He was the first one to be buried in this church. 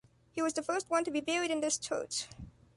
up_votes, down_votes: 2, 0